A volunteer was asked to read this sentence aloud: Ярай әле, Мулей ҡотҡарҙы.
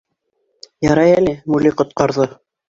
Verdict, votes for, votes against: accepted, 2, 0